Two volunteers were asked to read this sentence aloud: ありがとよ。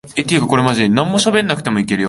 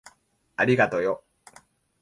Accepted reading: second